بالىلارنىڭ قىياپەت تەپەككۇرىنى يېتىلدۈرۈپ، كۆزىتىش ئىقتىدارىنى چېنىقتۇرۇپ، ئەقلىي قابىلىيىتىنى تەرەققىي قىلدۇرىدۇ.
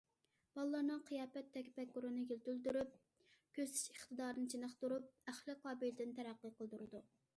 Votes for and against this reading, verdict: 0, 2, rejected